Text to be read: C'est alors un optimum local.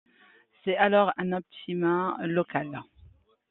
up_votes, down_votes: 2, 1